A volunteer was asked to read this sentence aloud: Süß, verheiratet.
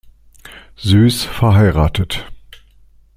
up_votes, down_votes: 2, 0